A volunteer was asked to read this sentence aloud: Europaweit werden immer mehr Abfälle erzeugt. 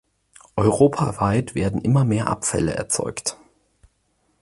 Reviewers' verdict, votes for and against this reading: accepted, 4, 0